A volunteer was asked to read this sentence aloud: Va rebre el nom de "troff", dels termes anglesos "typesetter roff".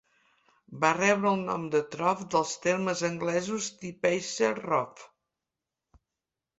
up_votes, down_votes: 0, 2